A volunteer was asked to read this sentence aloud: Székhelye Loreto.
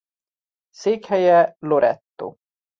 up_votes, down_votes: 2, 0